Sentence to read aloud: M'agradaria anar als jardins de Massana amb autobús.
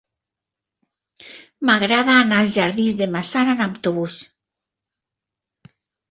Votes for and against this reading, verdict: 0, 2, rejected